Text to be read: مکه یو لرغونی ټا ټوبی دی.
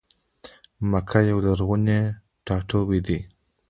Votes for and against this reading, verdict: 2, 0, accepted